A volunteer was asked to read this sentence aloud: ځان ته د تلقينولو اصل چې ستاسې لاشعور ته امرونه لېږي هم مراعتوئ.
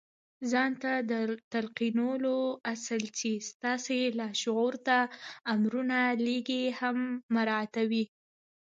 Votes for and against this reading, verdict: 0, 2, rejected